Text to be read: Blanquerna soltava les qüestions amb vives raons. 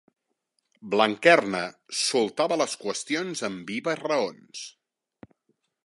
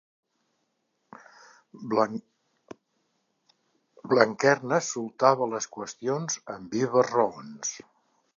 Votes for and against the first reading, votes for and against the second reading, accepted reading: 3, 0, 0, 2, first